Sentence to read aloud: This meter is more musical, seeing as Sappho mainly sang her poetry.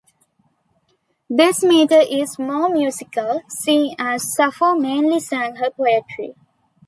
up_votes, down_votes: 2, 0